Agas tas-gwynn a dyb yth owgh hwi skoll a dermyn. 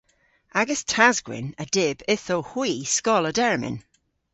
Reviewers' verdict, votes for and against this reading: accepted, 2, 1